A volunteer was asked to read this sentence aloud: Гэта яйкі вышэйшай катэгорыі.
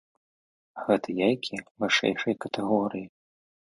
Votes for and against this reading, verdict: 2, 0, accepted